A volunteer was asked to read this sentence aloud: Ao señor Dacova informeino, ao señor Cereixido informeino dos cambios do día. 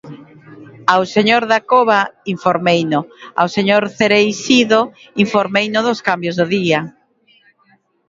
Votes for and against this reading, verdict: 22, 1, accepted